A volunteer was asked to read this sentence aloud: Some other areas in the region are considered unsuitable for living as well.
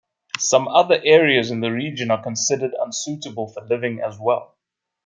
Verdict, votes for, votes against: accepted, 2, 0